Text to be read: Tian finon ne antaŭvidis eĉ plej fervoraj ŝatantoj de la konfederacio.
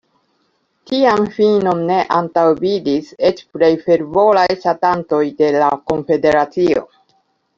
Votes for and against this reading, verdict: 0, 2, rejected